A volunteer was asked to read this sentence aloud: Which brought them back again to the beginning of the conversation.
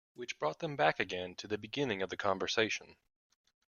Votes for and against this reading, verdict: 2, 0, accepted